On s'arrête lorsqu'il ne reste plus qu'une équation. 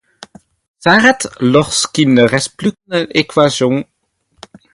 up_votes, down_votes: 2, 0